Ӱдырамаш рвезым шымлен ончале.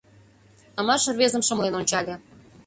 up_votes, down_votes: 0, 2